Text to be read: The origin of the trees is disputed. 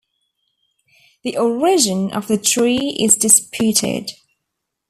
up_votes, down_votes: 0, 2